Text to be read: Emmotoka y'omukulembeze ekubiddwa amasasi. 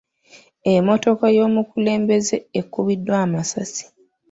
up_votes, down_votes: 1, 2